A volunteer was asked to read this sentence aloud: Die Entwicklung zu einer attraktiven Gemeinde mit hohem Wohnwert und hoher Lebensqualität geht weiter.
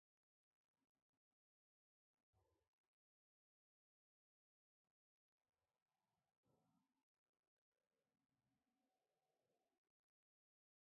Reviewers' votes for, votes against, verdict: 0, 2, rejected